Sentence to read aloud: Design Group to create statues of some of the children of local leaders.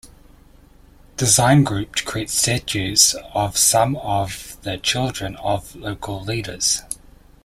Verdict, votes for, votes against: accepted, 2, 0